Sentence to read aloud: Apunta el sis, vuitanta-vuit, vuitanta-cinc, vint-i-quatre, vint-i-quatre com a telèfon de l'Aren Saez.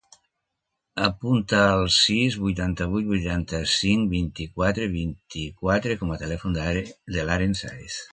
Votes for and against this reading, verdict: 1, 2, rejected